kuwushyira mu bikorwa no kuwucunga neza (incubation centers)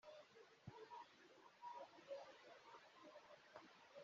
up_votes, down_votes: 0, 3